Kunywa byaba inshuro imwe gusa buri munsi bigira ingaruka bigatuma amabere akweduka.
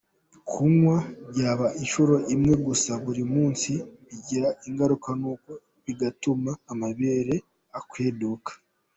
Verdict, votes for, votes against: rejected, 0, 2